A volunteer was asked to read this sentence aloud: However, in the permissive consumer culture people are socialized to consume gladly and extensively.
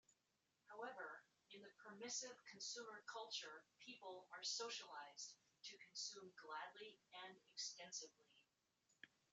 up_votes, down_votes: 0, 2